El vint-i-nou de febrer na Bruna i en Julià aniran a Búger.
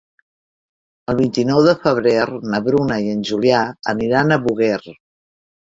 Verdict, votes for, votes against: rejected, 0, 2